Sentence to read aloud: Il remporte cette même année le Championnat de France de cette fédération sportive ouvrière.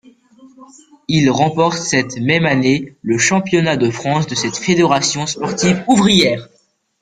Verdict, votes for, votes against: rejected, 0, 2